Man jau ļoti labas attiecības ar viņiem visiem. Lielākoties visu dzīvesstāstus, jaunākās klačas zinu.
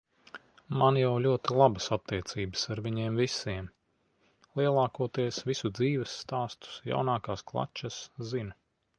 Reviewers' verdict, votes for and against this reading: accepted, 2, 0